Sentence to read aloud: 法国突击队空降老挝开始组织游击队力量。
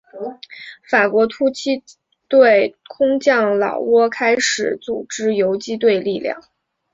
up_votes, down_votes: 2, 0